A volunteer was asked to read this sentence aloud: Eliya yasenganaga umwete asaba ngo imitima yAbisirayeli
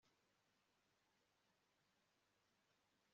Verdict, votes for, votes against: rejected, 0, 2